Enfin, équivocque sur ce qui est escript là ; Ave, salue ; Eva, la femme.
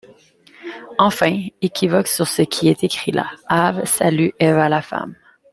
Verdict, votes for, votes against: accepted, 2, 0